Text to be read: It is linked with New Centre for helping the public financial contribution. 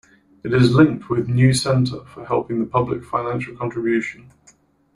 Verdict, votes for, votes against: rejected, 0, 2